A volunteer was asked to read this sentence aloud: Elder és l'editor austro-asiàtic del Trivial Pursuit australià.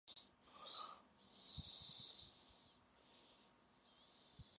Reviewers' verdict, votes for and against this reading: rejected, 0, 2